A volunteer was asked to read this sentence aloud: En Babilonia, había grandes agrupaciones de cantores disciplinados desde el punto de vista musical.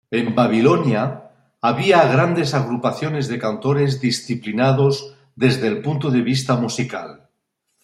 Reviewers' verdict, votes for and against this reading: accepted, 2, 0